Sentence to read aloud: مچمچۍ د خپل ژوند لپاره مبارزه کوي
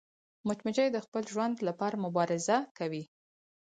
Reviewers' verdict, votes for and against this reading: accepted, 4, 0